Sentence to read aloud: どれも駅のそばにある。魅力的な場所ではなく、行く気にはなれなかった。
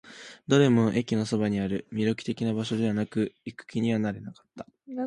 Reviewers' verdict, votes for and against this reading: accepted, 2, 0